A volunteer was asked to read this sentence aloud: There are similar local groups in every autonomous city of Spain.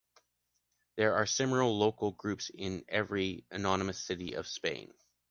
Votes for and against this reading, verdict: 0, 2, rejected